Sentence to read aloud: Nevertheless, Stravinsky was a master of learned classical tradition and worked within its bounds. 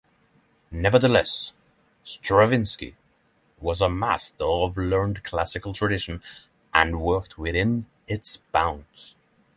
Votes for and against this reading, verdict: 3, 0, accepted